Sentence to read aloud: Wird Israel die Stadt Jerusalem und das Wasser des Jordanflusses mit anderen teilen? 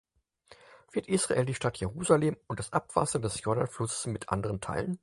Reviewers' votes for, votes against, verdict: 2, 4, rejected